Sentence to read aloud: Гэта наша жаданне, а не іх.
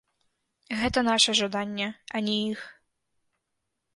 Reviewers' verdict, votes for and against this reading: rejected, 0, 2